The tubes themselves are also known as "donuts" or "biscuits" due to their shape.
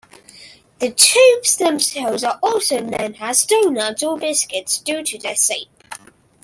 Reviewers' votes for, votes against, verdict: 2, 1, accepted